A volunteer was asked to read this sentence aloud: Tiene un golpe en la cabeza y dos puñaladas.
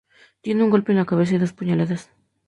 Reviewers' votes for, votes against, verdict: 2, 0, accepted